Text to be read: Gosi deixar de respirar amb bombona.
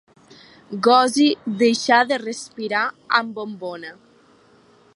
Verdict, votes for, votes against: rejected, 1, 2